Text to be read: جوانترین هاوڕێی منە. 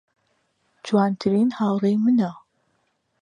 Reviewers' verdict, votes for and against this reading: accepted, 2, 0